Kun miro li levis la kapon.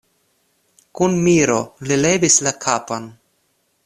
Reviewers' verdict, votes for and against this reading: accepted, 2, 0